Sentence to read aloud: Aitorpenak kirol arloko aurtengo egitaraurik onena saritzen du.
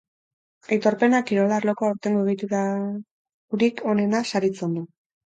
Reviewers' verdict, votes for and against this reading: rejected, 2, 4